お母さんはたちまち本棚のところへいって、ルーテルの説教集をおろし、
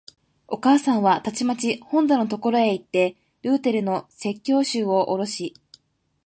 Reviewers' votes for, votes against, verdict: 2, 0, accepted